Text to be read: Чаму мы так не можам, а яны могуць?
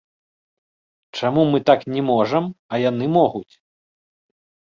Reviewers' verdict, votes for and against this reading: accepted, 2, 0